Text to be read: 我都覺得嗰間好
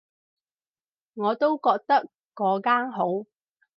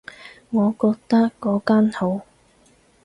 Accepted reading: first